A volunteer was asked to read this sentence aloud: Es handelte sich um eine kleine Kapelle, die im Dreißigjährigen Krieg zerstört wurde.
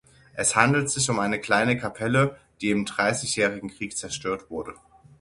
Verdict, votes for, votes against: rejected, 3, 6